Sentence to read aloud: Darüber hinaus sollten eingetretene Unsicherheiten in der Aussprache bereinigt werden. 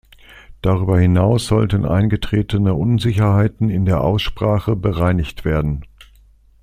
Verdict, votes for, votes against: accepted, 2, 0